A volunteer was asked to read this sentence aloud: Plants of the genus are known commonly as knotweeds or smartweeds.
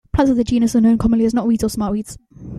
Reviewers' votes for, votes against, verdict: 1, 2, rejected